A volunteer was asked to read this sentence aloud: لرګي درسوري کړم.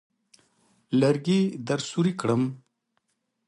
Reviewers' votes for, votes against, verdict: 2, 0, accepted